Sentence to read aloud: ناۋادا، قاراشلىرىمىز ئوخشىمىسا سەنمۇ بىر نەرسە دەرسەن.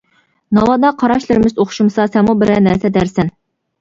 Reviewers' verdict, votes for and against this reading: rejected, 1, 2